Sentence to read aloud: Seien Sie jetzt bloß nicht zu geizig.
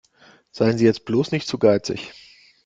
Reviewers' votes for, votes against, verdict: 2, 0, accepted